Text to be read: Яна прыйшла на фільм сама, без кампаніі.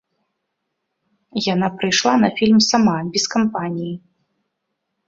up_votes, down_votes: 2, 0